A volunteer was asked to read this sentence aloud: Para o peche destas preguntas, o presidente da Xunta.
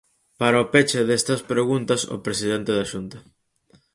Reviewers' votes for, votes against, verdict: 4, 0, accepted